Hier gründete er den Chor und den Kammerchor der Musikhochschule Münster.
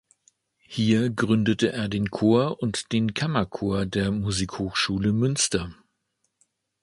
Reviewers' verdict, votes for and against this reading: accepted, 2, 0